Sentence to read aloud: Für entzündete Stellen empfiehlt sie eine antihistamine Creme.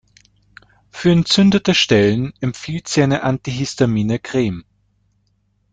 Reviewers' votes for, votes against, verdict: 2, 0, accepted